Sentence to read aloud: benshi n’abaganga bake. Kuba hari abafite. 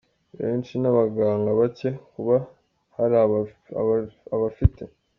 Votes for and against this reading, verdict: 0, 2, rejected